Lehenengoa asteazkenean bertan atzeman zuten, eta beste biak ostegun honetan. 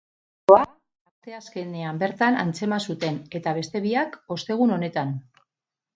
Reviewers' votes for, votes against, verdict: 0, 2, rejected